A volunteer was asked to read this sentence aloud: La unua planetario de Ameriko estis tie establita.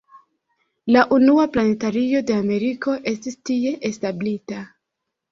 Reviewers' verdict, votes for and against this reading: accepted, 2, 0